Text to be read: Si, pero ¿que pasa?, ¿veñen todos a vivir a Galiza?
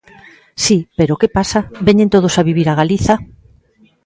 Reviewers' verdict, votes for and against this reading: accepted, 2, 0